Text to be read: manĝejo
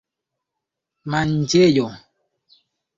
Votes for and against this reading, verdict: 2, 0, accepted